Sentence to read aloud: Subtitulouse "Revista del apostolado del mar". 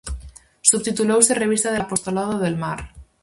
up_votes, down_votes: 4, 0